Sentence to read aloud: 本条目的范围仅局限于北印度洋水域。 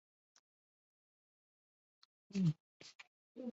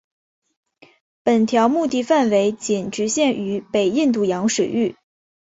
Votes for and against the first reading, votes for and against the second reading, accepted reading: 0, 3, 2, 0, second